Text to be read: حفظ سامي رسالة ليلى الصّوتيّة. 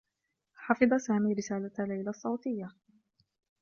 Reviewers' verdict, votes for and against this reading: accepted, 2, 0